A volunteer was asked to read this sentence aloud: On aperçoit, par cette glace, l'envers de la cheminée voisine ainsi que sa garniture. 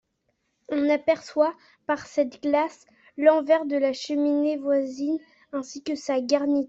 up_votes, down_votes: 0, 2